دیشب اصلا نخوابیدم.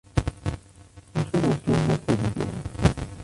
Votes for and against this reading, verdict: 1, 2, rejected